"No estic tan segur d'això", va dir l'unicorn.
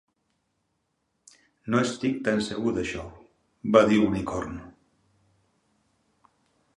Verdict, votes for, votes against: accepted, 2, 0